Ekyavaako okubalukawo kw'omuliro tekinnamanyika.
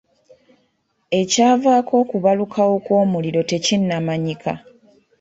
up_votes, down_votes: 2, 1